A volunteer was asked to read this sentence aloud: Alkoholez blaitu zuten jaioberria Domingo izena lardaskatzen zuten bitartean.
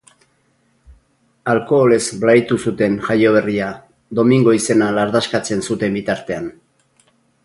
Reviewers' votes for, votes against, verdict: 2, 2, rejected